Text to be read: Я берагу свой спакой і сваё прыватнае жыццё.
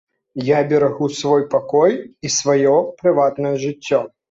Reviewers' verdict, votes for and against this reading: rejected, 0, 2